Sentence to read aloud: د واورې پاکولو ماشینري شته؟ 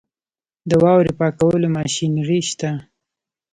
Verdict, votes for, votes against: accepted, 2, 0